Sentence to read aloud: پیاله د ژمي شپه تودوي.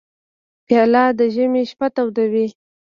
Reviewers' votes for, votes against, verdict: 2, 0, accepted